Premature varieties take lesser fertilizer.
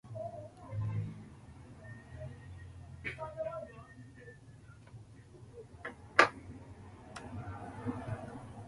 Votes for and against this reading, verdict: 0, 2, rejected